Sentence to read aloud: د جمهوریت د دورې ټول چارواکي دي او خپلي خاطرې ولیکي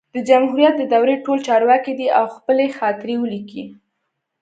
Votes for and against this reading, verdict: 2, 0, accepted